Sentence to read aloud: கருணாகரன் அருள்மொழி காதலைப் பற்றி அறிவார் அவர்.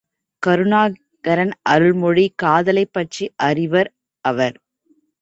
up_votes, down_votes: 1, 3